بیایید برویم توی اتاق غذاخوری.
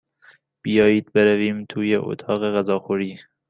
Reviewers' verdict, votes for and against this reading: accepted, 2, 0